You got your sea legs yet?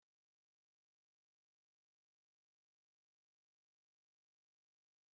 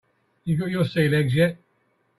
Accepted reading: second